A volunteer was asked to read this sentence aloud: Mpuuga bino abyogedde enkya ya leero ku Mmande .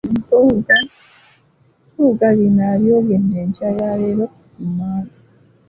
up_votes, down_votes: 0, 2